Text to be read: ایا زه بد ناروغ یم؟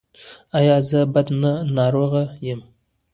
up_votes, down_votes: 2, 0